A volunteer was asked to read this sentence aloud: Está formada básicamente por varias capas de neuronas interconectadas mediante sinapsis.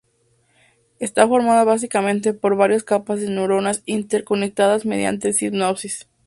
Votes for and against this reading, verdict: 0, 2, rejected